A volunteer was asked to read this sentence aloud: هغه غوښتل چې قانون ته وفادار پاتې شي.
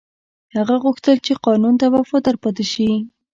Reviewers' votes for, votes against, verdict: 2, 1, accepted